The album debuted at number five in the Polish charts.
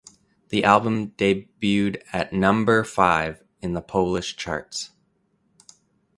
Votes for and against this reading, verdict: 0, 2, rejected